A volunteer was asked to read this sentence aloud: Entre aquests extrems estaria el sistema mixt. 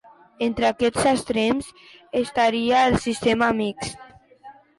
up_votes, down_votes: 2, 0